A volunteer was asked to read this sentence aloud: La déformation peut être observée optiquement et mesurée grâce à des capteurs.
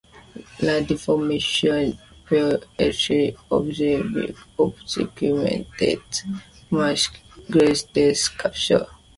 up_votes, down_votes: 1, 2